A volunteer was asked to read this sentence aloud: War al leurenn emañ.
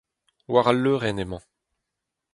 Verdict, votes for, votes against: accepted, 4, 0